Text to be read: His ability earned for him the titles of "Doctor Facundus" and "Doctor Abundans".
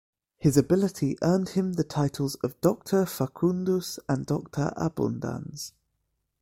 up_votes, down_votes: 1, 2